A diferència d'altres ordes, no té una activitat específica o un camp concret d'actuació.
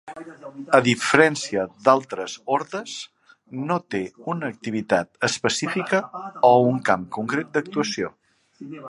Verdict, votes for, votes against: rejected, 1, 2